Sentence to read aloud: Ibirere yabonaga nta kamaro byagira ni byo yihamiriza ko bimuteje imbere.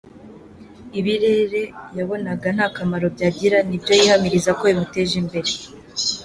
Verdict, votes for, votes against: accepted, 2, 0